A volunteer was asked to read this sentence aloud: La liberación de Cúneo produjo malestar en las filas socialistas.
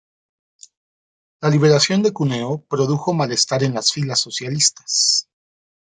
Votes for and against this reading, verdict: 0, 2, rejected